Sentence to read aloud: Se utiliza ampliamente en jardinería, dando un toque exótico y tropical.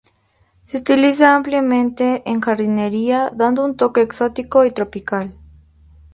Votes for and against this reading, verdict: 2, 0, accepted